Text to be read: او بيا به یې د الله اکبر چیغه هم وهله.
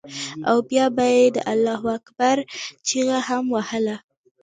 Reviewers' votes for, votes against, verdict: 2, 1, accepted